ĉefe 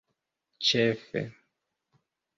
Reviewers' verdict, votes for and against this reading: accepted, 2, 0